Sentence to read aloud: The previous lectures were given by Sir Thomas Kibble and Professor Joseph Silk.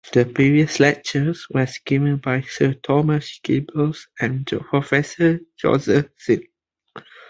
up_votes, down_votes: 2, 1